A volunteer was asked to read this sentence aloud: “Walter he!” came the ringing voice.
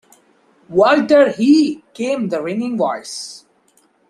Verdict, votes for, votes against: accepted, 2, 0